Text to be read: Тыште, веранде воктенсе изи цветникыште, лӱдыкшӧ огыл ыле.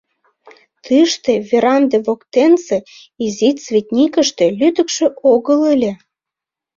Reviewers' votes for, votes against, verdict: 1, 2, rejected